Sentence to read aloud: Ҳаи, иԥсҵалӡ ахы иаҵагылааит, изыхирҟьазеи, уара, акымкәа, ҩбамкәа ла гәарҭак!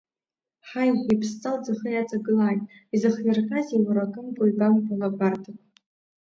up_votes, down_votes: 1, 2